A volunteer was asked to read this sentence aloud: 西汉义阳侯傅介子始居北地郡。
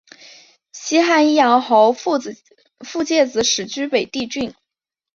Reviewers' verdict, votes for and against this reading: rejected, 1, 2